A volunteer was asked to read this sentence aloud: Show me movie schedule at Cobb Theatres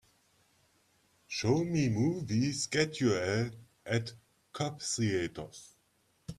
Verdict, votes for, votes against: accepted, 2, 0